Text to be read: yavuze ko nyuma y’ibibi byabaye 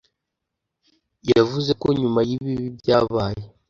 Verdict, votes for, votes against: accepted, 2, 0